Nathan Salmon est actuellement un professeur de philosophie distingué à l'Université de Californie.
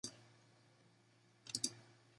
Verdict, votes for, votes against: rejected, 0, 2